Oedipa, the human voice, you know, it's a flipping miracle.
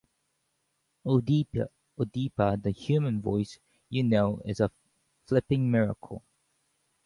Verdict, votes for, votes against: rejected, 0, 2